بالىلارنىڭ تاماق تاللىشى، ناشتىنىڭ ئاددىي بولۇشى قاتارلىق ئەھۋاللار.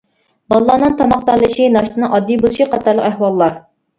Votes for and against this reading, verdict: 1, 2, rejected